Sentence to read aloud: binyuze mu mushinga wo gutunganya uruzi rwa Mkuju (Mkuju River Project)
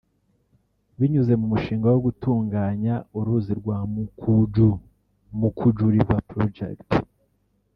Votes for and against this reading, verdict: 0, 2, rejected